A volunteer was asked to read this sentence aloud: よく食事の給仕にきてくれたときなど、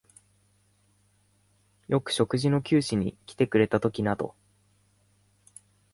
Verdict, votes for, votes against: rejected, 0, 2